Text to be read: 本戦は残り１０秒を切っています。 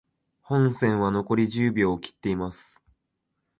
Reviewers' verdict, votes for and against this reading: rejected, 0, 2